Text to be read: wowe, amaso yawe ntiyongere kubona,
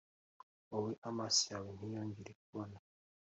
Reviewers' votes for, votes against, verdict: 2, 0, accepted